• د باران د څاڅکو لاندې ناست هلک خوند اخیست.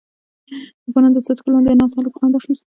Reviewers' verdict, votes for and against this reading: accepted, 2, 0